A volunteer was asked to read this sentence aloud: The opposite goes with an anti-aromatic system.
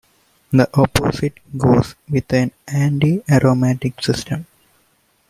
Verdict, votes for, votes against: accepted, 2, 0